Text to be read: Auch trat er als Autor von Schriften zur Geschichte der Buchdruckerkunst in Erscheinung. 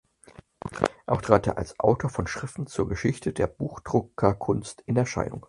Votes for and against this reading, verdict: 2, 4, rejected